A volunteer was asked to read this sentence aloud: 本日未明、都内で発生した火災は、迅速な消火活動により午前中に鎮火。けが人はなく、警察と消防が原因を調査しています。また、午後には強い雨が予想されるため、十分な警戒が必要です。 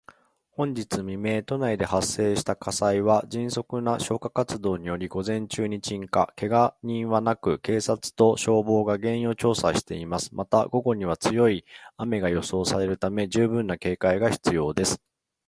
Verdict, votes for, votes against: rejected, 0, 2